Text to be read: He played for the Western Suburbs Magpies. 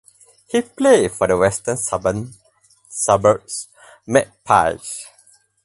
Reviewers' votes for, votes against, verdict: 0, 4, rejected